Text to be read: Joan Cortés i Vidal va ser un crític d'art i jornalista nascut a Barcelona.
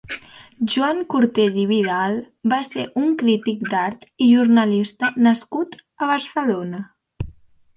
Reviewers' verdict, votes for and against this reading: accepted, 4, 0